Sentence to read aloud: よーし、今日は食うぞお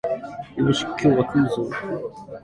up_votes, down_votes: 0, 2